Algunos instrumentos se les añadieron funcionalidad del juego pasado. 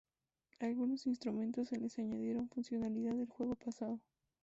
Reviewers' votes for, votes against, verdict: 0, 2, rejected